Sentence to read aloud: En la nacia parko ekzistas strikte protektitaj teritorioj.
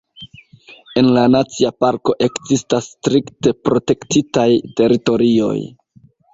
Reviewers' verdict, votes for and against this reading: accepted, 2, 1